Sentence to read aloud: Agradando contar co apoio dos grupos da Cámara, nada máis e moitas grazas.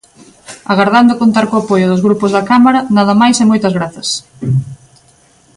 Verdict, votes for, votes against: rejected, 0, 2